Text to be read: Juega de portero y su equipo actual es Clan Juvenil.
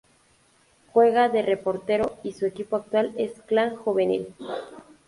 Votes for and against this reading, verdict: 0, 2, rejected